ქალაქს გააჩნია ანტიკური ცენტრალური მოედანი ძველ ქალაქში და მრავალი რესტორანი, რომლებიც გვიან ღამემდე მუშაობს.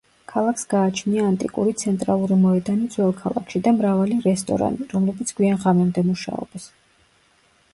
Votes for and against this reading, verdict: 0, 2, rejected